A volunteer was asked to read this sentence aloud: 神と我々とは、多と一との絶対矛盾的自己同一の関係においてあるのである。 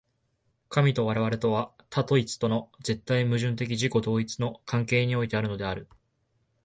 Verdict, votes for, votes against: accepted, 6, 2